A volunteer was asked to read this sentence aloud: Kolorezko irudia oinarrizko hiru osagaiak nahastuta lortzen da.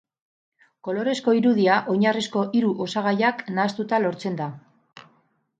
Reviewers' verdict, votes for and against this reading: accepted, 4, 0